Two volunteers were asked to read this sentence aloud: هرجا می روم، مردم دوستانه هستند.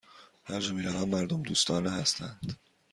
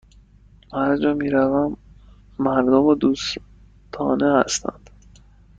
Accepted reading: first